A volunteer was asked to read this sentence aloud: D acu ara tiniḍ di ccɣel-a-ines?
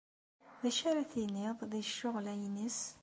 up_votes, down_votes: 2, 0